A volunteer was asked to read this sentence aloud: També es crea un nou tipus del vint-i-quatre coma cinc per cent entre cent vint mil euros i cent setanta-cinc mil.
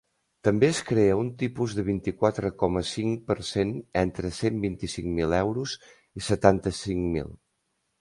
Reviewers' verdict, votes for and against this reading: rejected, 0, 2